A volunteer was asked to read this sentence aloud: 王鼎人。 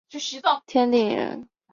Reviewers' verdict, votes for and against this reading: rejected, 1, 2